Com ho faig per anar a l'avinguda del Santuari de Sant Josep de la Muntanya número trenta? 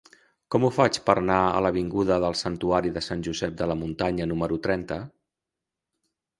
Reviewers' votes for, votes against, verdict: 1, 2, rejected